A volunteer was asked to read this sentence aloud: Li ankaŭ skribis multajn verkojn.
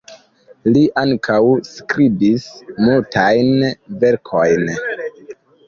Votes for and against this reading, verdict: 0, 2, rejected